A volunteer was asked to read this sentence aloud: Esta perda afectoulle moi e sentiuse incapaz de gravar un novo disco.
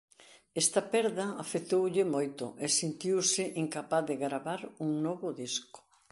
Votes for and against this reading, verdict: 1, 2, rejected